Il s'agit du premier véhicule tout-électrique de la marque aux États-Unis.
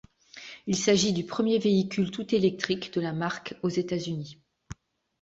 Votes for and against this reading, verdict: 3, 0, accepted